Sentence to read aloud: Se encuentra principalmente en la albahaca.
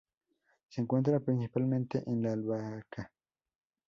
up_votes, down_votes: 0, 2